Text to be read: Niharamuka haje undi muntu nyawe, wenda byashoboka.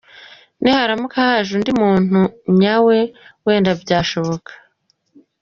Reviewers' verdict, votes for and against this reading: accepted, 2, 0